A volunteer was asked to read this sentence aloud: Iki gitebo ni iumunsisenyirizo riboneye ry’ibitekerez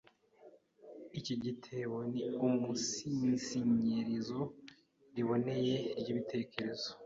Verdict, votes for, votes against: rejected, 0, 2